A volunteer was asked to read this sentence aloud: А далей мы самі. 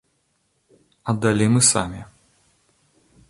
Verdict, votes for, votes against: accepted, 2, 0